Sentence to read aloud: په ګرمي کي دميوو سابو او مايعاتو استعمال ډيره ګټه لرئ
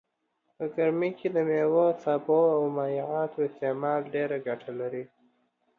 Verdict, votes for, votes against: accepted, 2, 1